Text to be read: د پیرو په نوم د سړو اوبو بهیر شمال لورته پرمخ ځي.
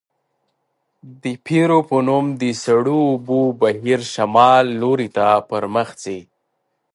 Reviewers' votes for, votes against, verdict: 1, 2, rejected